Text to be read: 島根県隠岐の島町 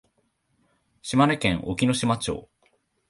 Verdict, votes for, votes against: accepted, 6, 0